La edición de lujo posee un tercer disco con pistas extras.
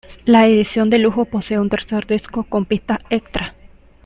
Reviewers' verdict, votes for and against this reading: accepted, 2, 1